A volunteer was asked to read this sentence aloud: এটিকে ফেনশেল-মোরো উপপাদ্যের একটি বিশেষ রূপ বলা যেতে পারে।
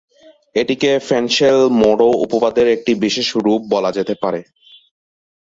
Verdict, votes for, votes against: accepted, 2, 0